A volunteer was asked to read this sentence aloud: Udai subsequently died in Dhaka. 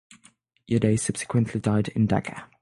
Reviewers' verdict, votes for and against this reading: accepted, 6, 0